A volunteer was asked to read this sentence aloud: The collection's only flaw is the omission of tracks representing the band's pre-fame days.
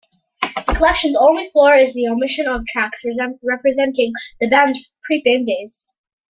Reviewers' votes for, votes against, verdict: 2, 0, accepted